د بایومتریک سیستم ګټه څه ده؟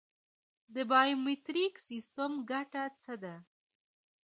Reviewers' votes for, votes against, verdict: 0, 2, rejected